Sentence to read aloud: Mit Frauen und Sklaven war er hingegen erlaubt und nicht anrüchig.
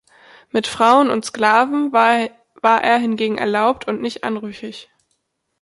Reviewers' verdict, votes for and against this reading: rejected, 0, 2